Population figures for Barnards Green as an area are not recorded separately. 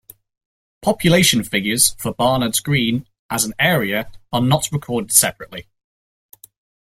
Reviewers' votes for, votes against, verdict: 2, 0, accepted